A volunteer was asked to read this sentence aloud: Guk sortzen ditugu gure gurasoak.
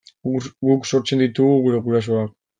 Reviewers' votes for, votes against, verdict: 1, 2, rejected